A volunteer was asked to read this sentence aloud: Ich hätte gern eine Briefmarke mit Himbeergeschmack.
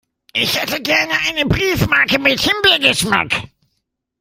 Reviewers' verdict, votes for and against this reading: rejected, 1, 2